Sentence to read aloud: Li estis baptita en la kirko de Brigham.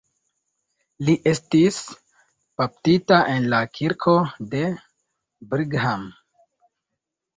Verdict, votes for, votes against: accepted, 2, 0